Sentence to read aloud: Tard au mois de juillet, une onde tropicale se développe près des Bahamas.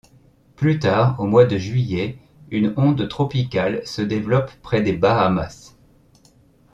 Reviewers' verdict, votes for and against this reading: rejected, 0, 2